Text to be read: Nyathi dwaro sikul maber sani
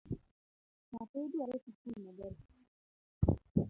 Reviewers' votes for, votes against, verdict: 0, 2, rejected